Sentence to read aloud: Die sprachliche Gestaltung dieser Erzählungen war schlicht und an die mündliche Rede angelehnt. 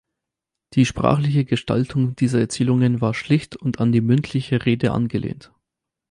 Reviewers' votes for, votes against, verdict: 4, 0, accepted